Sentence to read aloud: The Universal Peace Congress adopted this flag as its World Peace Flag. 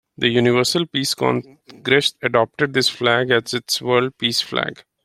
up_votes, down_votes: 2, 0